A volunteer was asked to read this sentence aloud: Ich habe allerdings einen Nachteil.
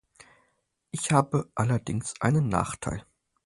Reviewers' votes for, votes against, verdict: 4, 0, accepted